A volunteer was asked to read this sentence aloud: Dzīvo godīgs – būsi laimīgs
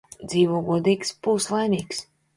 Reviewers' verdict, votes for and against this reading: accepted, 2, 0